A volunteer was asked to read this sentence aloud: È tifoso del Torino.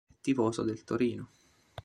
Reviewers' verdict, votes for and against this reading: rejected, 0, 2